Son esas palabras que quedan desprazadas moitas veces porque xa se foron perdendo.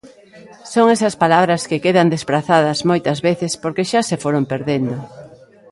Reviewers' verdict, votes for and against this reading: accepted, 3, 0